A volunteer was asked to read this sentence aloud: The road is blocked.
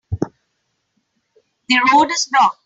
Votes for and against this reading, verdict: 3, 1, accepted